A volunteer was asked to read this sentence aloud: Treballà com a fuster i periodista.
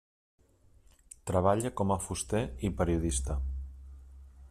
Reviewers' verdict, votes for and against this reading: rejected, 0, 2